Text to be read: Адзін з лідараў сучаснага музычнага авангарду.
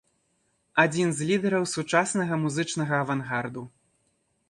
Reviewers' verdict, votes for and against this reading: accepted, 2, 0